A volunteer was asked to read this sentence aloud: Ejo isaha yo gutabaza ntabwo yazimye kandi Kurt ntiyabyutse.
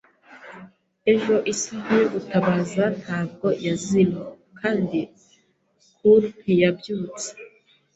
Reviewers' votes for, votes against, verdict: 1, 2, rejected